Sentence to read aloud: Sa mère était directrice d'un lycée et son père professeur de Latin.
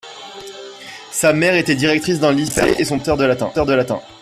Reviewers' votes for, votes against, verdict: 0, 2, rejected